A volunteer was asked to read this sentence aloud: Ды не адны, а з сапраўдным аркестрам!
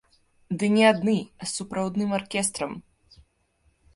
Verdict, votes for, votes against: rejected, 0, 2